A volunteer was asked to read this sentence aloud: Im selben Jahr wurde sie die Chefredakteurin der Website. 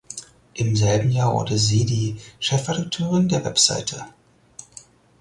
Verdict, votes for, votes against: rejected, 2, 4